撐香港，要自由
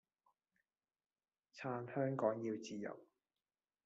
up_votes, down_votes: 1, 2